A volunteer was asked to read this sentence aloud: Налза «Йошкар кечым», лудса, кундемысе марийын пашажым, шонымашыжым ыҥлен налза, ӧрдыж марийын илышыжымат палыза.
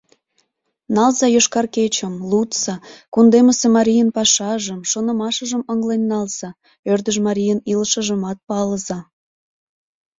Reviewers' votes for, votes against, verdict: 2, 0, accepted